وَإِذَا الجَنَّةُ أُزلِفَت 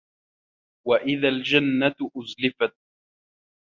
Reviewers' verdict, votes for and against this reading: accepted, 2, 0